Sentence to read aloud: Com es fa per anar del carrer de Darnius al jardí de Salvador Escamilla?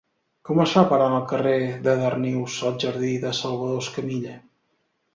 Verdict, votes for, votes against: rejected, 0, 2